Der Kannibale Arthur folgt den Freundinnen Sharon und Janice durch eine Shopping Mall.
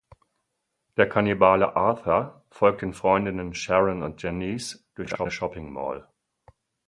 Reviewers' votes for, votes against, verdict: 2, 4, rejected